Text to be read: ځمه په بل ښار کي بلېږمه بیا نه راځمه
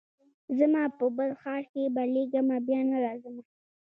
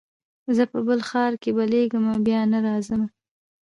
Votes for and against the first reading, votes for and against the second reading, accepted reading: 2, 0, 0, 2, first